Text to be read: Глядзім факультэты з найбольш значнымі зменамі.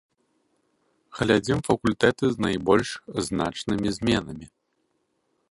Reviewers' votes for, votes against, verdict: 0, 2, rejected